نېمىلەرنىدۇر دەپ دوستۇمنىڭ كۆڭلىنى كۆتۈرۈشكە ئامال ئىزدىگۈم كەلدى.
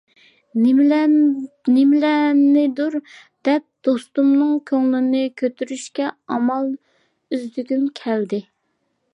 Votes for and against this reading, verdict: 0, 2, rejected